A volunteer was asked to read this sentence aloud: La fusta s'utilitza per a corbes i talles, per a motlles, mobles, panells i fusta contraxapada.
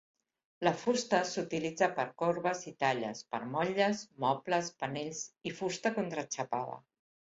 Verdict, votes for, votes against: rejected, 1, 2